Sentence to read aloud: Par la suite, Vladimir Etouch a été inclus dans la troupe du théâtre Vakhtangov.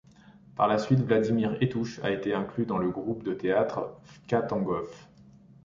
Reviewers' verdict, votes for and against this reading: rejected, 1, 2